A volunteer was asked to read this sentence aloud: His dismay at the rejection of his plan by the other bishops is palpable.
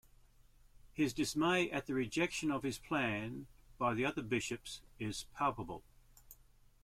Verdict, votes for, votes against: accepted, 2, 0